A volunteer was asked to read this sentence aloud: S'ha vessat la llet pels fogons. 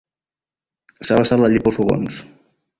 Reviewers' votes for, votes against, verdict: 1, 2, rejected